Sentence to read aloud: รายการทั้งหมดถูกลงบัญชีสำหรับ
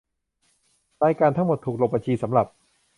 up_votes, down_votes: 2, 0